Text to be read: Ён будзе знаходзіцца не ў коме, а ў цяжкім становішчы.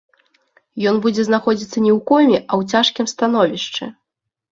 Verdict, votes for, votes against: accepted, 2, 0